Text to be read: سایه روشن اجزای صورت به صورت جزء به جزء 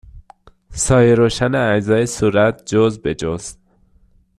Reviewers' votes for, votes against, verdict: 0, 2, rejected